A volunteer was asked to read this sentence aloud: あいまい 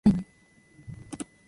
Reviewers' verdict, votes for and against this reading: rejected, 1, 2